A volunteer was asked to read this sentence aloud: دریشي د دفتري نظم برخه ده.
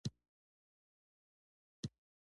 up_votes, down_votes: 1, 2